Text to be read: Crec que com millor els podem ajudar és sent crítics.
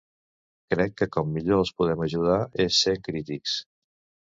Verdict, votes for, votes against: rejected, 1, 2